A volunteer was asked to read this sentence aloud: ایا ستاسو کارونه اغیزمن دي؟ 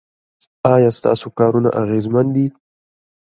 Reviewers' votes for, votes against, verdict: 2, 0, accepted